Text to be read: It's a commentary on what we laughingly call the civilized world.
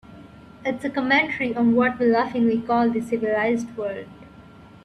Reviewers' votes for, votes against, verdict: 1, 2, rejected